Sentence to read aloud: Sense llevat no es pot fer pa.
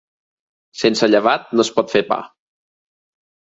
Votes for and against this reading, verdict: 4, 0, accepted